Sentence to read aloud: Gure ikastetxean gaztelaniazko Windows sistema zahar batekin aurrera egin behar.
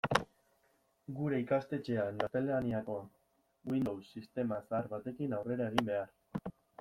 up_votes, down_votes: 1, 2